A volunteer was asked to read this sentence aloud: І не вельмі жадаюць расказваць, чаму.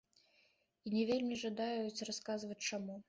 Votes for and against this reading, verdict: 2, 0, accepted